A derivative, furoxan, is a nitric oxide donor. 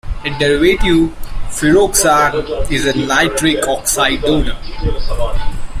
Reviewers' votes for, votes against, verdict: 0, 2, rejected